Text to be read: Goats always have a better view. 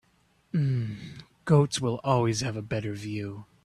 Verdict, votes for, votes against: rejected, 0, 2